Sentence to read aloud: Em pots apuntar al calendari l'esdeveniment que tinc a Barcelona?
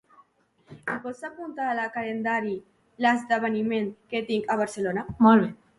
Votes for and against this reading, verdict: 1, 2, rejected